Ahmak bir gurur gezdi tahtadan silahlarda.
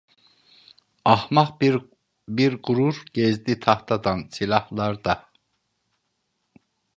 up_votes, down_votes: 0, 2